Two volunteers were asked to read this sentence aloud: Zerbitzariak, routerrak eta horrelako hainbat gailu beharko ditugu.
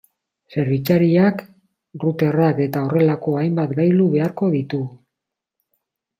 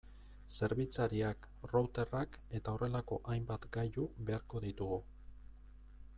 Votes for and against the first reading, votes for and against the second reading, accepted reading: 2, 0, 0, 2, first